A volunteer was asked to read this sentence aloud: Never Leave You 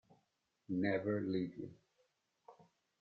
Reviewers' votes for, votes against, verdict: 2, 0, accepted